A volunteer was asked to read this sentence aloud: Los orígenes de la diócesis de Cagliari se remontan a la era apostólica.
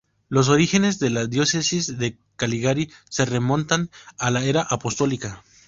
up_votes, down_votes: 0, 2